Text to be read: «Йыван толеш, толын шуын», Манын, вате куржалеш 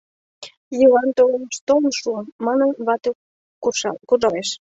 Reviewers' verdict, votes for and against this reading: rejected, 0, 2